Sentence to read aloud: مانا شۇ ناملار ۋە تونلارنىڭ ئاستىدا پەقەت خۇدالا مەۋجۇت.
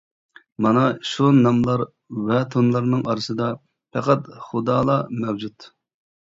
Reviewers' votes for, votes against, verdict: 0, 2, rejected